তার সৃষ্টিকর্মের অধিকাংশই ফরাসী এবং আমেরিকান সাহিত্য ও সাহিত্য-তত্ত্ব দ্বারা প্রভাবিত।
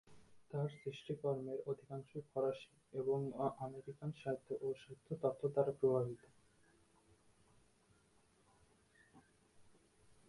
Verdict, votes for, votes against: rejected, 0, 2